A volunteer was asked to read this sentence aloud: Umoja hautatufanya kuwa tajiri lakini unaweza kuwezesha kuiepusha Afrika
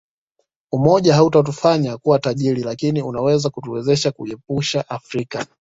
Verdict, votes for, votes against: rejected, 1, 2